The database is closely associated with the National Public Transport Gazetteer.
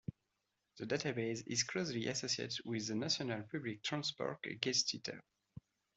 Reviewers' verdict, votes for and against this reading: rejected, 1, 2